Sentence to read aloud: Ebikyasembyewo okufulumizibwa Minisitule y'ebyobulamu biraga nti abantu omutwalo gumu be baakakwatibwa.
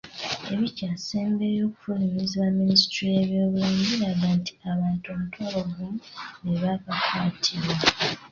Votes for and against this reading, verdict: 1, 2, rejected